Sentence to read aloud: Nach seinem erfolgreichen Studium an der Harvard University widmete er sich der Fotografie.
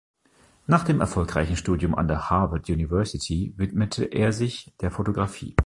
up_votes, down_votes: 0, 2